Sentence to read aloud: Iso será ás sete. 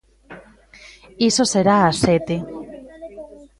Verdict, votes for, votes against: rejected, 0, 2